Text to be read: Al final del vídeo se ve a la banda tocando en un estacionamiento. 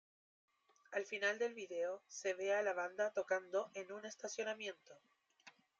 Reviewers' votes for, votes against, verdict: 1, 2, rejected